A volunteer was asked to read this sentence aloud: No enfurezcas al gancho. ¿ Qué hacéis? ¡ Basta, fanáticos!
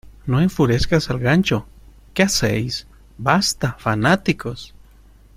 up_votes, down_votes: 2, 0